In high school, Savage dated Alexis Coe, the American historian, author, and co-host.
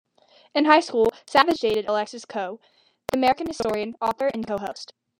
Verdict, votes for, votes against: accepted, 2, 1